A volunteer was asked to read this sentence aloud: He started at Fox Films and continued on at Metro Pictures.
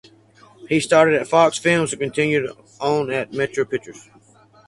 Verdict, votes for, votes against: accepted, 4, 2